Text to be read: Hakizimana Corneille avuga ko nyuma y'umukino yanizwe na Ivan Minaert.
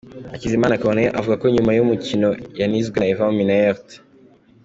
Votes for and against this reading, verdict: 2, 0, accepted